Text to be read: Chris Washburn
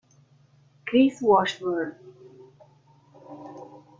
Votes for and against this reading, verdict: 2, 0, accepted